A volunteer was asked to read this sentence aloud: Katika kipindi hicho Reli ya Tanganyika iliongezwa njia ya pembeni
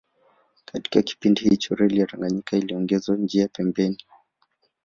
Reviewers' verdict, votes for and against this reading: accepted, 2, 1